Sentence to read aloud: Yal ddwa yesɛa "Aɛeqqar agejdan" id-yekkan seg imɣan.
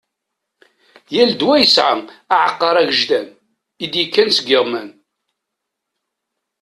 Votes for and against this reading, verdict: 1, 2, rejected